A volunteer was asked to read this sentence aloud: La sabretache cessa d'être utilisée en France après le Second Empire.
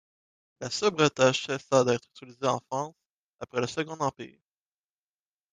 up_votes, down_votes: 1, 2